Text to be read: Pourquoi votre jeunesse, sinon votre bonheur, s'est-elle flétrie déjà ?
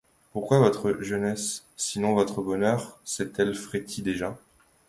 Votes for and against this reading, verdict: 0, 2, rejected